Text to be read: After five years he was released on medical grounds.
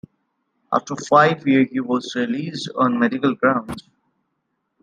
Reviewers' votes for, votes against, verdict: 2, 0, accepted